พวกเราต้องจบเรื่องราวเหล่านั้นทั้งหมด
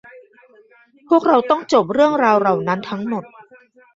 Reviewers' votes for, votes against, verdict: 1, 2, rejected